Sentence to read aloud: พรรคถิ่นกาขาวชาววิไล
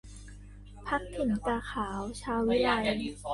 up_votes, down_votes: 0, 2